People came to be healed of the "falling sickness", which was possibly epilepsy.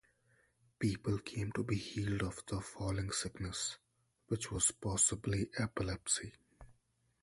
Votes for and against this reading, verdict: 2, 0, accepted